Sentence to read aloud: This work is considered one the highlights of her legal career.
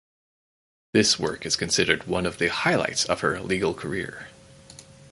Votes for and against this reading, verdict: 4, 0, accepted